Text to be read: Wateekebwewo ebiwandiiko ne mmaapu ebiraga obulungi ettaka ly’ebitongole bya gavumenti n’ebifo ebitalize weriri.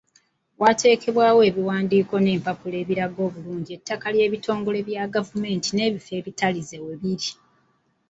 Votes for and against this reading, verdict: 1, 2, rejected